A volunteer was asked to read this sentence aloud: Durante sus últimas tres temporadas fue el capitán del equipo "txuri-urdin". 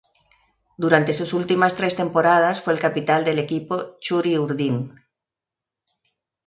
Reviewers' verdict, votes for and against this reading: rejected, 2, 2